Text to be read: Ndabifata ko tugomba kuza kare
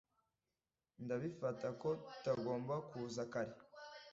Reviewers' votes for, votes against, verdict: 1, 2, rejected